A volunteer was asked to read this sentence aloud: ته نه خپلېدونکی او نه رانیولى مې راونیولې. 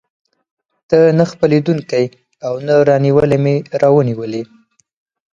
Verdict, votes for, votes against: accepted, 4, 2